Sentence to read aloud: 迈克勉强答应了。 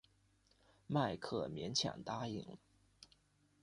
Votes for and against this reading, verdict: 2, 0, accepted